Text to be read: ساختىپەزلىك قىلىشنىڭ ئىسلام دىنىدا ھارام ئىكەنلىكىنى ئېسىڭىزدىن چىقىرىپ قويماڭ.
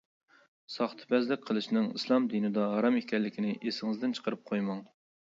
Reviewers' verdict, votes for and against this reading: accepted, 2, 0